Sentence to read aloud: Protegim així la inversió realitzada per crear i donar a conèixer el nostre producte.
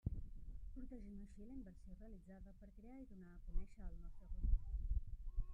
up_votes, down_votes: 1, 2